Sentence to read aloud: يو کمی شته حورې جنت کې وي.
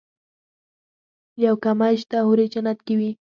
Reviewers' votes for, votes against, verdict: 4, 0, accepted